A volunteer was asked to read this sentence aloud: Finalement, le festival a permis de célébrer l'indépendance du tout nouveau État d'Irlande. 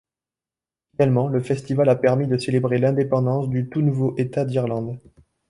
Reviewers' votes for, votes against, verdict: 0, 2, rejected